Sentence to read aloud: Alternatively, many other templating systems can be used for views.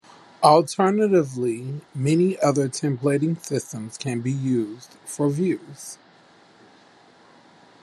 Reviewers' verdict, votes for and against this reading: accepted, 2, 0